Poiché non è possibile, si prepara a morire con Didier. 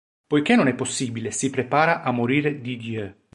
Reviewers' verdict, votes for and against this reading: rejected, 1, 2